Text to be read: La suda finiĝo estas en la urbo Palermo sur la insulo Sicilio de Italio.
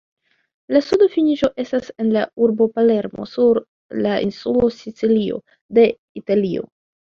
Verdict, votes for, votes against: accepted, 2, 0